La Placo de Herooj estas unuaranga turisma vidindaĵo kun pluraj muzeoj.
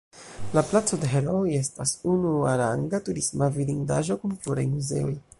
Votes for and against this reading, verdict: 0, 2, rejected